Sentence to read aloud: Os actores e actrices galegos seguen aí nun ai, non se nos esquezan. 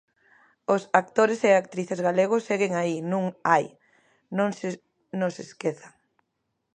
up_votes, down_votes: 0, 2